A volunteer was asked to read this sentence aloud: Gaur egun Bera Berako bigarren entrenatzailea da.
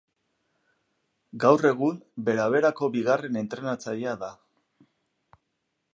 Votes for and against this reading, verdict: 2, 0, accepted